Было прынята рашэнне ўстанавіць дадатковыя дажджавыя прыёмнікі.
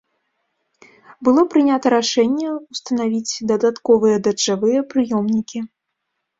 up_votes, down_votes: 0, 2